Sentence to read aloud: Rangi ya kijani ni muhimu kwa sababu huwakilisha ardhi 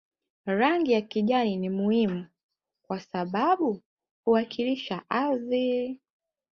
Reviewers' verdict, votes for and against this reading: accepted, 5, 0